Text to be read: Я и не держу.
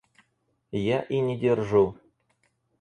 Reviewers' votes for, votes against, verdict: 4, 0, accepted